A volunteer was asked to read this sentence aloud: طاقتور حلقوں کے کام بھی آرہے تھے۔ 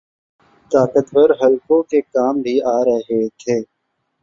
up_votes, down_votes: 3, 1